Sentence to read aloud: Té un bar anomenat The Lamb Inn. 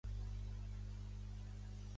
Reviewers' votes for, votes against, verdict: 0, 2, rejected